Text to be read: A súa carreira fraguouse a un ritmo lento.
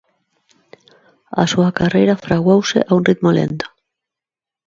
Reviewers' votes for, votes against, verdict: 2, 0, accepted